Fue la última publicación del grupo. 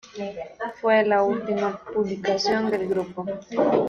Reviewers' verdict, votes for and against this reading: accepted, 2, 0